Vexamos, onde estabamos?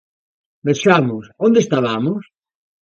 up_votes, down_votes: 2, 0